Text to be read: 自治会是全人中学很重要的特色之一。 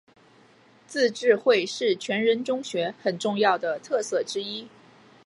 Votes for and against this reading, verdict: 2, 0, accepted